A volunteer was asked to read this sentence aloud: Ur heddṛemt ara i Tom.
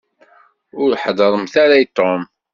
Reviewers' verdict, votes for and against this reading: rejected, 1, 2